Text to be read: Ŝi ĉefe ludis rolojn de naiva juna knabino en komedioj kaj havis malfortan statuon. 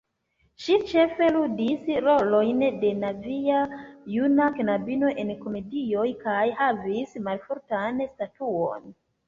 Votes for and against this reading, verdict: 0, 2, rejected